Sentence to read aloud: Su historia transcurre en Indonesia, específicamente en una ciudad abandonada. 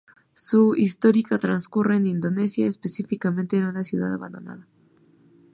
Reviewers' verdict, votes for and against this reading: rejected, 0, 2